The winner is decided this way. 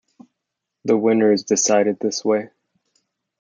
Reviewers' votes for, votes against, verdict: 2, 0, accepted